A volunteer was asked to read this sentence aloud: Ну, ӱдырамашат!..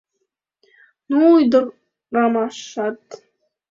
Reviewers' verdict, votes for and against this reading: rejected, 1, 2